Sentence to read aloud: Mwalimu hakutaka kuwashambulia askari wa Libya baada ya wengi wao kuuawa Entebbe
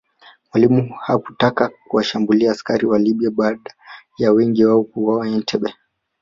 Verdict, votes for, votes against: accepted, 2, 0